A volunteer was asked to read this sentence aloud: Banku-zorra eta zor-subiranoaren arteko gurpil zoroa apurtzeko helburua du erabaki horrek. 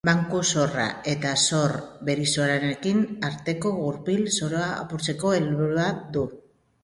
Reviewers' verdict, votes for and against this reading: rejected, 0, 2